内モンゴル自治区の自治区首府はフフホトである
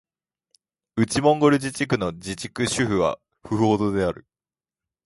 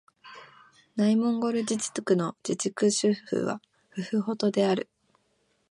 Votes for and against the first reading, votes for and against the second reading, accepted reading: 13, 1, 1, 2, first